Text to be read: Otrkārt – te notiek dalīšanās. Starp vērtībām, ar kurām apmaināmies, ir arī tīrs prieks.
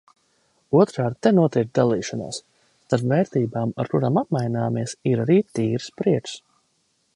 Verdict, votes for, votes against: rejected, 0, 2